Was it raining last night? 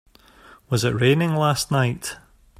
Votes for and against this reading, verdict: 2, 0, accepted